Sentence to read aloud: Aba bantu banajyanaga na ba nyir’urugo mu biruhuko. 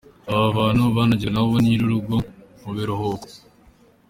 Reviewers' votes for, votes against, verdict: 3, 1, accepted